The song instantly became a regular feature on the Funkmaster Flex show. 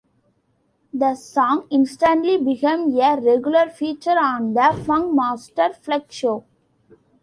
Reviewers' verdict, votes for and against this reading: accepted, 2, 0